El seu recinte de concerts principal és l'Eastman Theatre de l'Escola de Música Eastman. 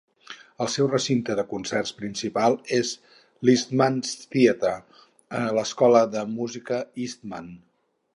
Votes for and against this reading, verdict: 0, 2, rejected